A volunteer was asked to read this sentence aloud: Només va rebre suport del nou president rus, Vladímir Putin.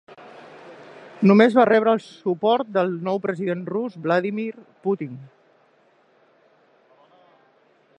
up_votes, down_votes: 1, 2